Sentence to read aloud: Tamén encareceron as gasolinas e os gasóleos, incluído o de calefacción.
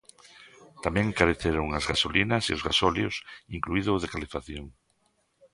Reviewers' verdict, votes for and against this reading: accepted, 2, 0